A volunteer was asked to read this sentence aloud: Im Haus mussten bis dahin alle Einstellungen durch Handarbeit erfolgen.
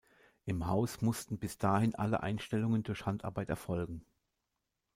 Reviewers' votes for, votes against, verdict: 2, 0, accepted